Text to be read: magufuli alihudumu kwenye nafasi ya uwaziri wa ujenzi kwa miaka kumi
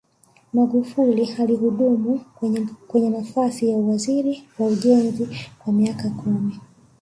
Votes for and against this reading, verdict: 4, 3, accepted